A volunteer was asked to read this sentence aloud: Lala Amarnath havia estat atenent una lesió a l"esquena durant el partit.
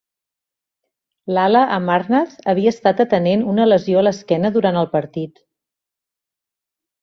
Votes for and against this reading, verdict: 3, 0, accepted